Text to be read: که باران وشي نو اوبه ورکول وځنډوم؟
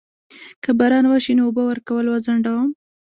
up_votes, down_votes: 1, 2